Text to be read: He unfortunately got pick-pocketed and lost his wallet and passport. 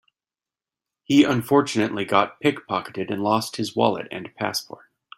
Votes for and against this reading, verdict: 3, 0, accepted